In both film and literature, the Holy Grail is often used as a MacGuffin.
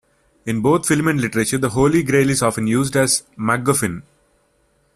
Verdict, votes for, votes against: rejected, 1, 2